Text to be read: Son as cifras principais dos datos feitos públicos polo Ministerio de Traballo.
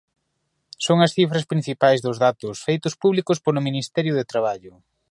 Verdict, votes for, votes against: accepted, 2, 0